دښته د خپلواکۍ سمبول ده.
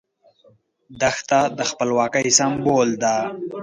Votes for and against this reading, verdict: 2, 1, accepted